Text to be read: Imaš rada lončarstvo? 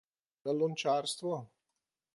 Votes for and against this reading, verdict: 0, 2, rejected